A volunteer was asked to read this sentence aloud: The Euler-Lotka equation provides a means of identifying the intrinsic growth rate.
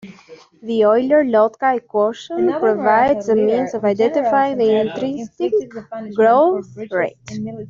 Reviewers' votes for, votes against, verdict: 2, 1, accepted